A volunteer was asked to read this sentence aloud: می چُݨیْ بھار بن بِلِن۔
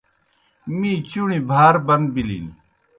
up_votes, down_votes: 2, 0